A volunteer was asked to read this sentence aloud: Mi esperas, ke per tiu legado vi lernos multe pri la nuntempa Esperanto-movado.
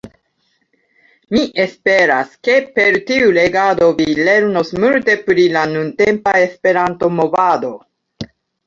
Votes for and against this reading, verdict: 2, 0, accepted